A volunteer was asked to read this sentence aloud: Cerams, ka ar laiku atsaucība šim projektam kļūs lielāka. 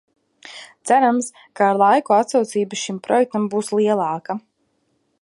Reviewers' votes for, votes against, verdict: 0, 2, rejected